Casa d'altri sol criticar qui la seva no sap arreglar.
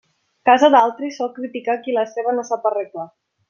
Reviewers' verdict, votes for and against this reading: accepted, 2, 0